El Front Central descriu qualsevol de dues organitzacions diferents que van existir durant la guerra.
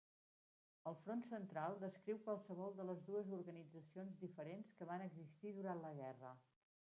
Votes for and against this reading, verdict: 1, 2, rejected